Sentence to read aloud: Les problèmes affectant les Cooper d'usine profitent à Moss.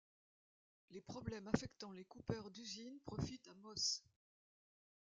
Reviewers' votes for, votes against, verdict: 0, 2, rejected